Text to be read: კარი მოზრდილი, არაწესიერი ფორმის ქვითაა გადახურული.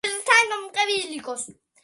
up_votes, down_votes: 0, 2